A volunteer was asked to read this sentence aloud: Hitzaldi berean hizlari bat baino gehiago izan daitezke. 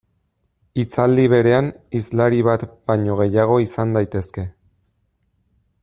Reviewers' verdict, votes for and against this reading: accepted, 2, 1